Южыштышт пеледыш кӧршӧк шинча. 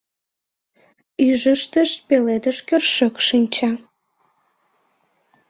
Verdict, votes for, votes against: rejected, 1, 2